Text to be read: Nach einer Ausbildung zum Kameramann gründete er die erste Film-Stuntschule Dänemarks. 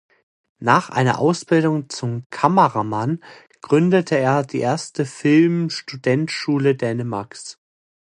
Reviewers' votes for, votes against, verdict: 0, 2, rejected